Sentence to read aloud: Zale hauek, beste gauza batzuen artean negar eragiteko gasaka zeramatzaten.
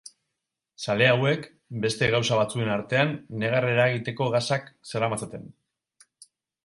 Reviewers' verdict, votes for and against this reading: rejected, 2, 4